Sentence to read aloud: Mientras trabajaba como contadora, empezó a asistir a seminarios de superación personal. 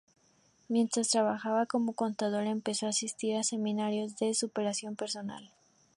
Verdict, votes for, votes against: accepted, 2, 0